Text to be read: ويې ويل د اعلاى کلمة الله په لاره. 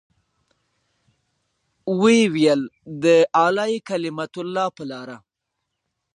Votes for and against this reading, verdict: 2, 1, accepted